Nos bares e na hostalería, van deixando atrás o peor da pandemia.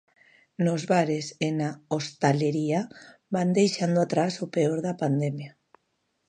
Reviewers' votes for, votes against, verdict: 2, 0, accepted